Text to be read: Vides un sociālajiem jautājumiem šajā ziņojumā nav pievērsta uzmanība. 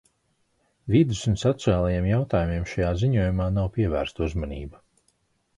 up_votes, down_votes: 2, 0